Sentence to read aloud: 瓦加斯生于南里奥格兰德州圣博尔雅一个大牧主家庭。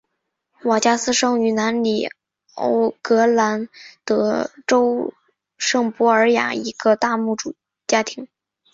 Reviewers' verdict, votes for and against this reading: accepted, 3, 1